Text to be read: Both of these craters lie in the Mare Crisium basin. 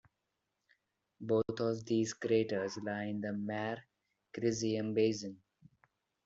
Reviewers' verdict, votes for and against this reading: accepted, 2, 0